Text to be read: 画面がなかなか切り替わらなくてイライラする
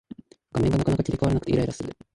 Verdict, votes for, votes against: accepted, 3, 2